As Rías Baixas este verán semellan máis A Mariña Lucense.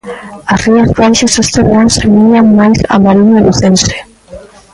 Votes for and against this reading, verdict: 1, 2, rejected